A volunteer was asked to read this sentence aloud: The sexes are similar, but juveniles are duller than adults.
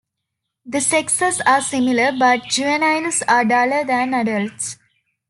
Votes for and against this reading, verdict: 3, 0, accepted